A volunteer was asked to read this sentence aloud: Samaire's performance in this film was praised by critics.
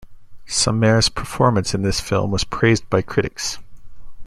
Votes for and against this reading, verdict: 2, 0, accepted